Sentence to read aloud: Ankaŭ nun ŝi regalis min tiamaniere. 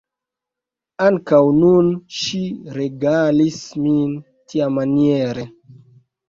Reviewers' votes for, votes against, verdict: 2, 0, accepted